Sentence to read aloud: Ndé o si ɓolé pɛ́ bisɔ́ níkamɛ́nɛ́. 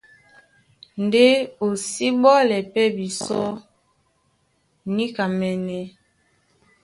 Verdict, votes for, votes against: rejected, 0, 2